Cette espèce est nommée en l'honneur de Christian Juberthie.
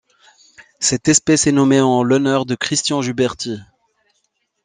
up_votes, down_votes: 2, 0